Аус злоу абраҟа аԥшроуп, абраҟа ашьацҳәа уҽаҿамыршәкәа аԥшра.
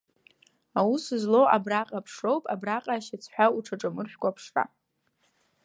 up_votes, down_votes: 1, 2